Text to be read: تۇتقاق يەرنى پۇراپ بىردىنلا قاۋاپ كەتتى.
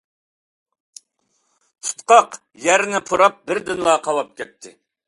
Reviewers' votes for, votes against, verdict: 2, 0, accepted